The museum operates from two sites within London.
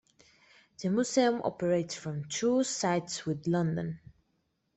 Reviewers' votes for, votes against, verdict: 0, 2, rejected